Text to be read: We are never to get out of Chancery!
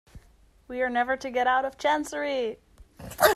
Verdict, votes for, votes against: rejected, 1, 2